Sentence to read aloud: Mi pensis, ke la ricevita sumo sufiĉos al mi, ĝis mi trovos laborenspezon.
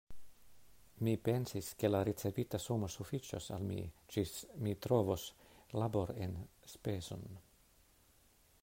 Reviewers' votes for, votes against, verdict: 2, 0, accepted